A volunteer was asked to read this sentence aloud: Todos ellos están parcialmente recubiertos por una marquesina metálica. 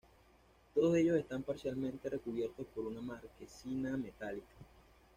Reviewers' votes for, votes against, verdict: 2, 0, accepted